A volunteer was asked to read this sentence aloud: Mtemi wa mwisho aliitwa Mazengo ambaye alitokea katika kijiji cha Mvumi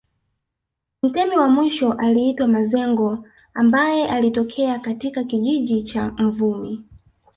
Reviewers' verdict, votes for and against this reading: rejected, 0, 2